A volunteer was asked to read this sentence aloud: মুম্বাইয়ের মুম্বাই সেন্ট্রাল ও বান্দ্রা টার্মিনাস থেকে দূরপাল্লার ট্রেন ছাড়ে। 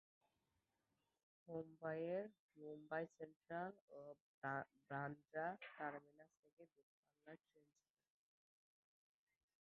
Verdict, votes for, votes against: rejected, 0, 2